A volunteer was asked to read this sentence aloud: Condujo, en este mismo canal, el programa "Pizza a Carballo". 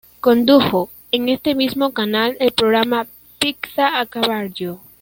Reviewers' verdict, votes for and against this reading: rejected, 0, 2